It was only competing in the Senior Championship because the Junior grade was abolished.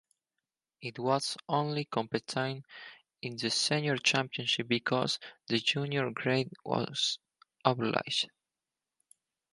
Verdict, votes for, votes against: rejected, 0, 4